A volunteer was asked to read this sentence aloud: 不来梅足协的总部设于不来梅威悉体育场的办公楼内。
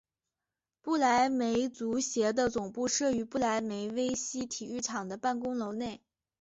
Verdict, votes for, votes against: accepted, 2, 0